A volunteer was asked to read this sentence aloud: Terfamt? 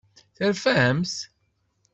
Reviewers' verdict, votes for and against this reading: accepted, 2, 0